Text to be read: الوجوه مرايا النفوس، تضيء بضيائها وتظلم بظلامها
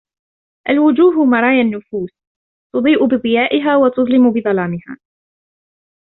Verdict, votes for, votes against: accepted, 2, 0